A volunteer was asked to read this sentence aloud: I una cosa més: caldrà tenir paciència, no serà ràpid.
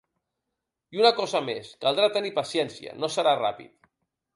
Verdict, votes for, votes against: accepted, 3, 0